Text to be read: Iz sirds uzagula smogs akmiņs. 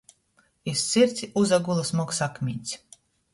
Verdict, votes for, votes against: accepted, 3, 0